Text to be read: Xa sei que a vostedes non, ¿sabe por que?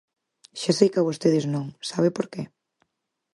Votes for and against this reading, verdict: 4, 0, accepted